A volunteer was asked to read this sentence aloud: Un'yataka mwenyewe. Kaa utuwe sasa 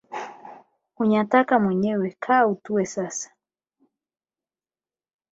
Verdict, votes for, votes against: rejected, 4, 8